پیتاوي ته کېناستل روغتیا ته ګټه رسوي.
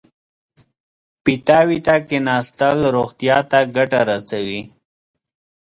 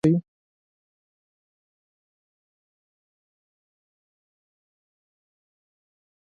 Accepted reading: first